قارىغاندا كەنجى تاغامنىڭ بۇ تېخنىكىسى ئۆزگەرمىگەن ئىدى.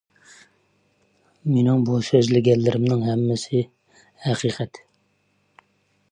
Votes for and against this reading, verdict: 0, 2, rejected